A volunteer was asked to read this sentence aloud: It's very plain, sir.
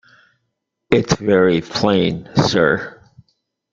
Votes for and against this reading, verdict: 2, 0, accepted